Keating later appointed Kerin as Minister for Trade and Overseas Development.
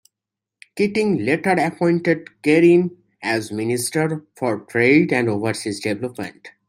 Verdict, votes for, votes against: accepted, 2, 1